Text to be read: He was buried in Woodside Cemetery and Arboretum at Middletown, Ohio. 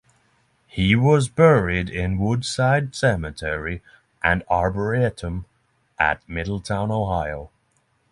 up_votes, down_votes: 3, 0